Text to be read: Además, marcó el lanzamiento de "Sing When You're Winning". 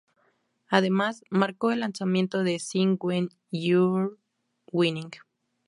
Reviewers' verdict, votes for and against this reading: accepted, 2, 0